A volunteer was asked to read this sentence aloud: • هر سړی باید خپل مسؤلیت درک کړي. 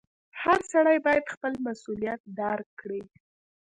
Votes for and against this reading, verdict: 1, 2, rejected